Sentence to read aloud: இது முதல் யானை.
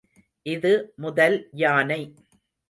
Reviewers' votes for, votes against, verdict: 2, 0, accepted